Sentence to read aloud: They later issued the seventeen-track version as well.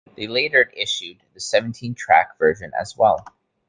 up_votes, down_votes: 2, 0